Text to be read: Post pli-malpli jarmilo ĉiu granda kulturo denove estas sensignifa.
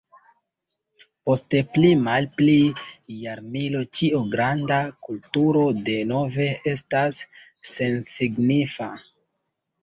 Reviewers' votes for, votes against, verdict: 1, 2, rejected